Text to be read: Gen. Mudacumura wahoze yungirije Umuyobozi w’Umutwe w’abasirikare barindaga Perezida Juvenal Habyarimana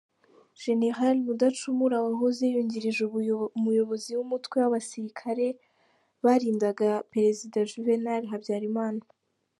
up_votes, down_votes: 0, 2